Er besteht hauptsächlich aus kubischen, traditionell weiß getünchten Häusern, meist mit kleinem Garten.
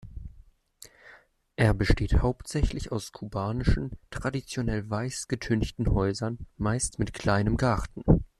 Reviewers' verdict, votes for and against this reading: rejected, 0, 2